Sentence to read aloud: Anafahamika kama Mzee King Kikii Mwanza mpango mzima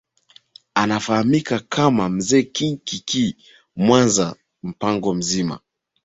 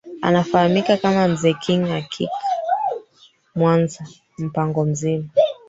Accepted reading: first